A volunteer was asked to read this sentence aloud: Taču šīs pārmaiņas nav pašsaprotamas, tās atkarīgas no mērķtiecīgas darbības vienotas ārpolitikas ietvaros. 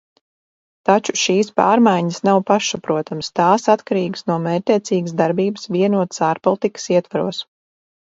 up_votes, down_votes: 2, 0